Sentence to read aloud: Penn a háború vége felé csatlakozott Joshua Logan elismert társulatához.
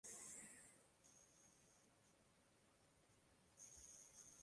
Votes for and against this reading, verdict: 0, 2, rejected